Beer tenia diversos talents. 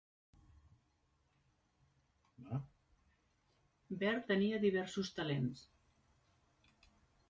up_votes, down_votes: 0, 2